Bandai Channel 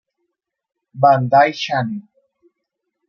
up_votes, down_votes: 0, 2